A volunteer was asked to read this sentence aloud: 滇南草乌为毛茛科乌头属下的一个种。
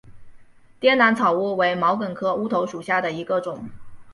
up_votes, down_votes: 5, 0